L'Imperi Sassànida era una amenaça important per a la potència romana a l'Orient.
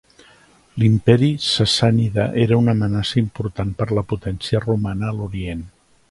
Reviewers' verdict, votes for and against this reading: rejected, 0, 2